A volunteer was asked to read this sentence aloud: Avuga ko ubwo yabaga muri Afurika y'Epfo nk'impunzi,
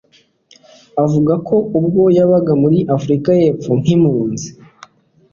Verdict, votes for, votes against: accepted, 2, 0